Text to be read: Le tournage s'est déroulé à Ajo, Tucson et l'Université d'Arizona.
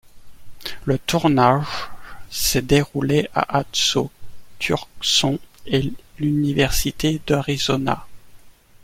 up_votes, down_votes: 0, 2